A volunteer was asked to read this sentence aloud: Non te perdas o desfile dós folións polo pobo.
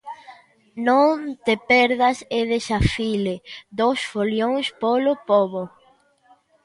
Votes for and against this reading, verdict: 0, 2, rejected